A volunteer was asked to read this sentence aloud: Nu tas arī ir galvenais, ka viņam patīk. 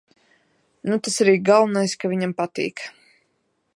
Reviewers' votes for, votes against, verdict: 2, 0, accepted